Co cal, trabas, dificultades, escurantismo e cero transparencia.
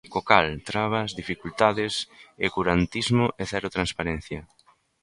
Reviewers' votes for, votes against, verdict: 1, 2, rejected